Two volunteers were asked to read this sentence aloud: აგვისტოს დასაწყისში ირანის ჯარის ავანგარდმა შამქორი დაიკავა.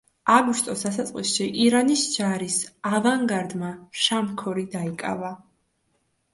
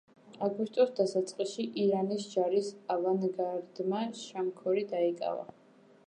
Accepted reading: first